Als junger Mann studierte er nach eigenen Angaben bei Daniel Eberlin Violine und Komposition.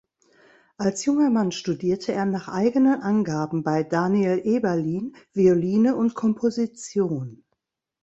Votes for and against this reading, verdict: 1, 2, rejected